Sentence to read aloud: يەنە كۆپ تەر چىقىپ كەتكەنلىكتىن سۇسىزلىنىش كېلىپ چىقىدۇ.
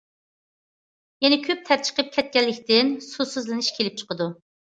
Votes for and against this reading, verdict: 2, 0, accepted